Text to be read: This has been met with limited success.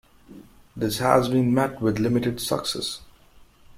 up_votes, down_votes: 0, 2